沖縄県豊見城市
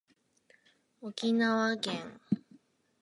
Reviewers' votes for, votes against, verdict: 0, 4, rejected